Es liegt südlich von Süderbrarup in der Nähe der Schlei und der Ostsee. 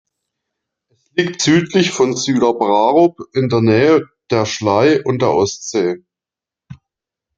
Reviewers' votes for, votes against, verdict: 0, 2, rejected